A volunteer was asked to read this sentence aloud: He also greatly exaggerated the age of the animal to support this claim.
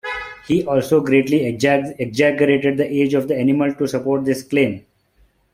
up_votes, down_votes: 1, 3